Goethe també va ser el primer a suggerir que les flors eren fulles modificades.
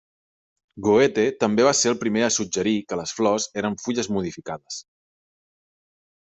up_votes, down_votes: 3, 0